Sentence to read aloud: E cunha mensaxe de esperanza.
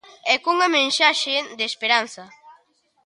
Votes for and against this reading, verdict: 2, 0, accepted